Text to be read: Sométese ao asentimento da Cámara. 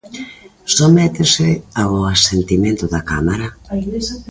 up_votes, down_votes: 2, 0